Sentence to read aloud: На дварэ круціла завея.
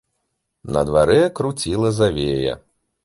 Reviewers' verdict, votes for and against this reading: accepted, 2, 0